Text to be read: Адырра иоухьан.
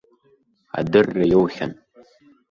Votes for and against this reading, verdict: 2, 0, accepted